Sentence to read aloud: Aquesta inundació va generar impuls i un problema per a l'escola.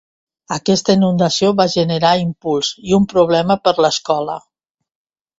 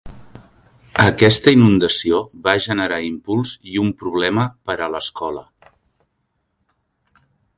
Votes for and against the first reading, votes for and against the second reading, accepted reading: 0, 2, 3, 0, second